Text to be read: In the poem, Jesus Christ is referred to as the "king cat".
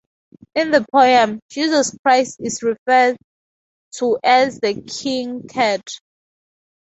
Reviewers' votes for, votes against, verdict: 2, 0, accepted